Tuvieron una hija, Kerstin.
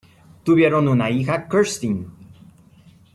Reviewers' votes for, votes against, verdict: 2, 0, accepted